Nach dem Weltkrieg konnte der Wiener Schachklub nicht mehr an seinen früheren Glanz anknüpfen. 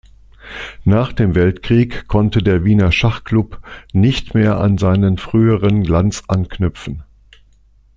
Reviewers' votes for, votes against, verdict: 2, 0, accepted